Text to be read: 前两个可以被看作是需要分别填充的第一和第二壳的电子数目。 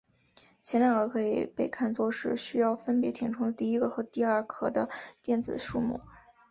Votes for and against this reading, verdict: 2, 2, rejected